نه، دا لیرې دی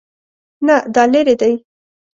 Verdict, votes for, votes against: accepted, 2, 0